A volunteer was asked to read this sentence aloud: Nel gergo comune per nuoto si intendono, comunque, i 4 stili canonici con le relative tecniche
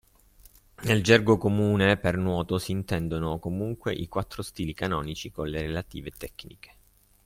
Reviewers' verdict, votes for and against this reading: rejected, 0, 2